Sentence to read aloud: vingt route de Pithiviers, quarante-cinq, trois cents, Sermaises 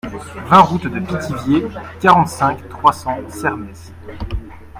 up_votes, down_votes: 0, 2